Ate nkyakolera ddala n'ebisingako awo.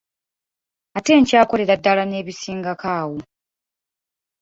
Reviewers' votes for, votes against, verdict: 2, 1, accepted